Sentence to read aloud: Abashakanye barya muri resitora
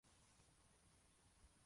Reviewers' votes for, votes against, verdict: 0, 2, rejected